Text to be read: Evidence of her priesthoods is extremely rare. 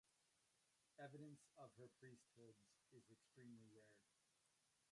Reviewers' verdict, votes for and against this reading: rejected, 0, 2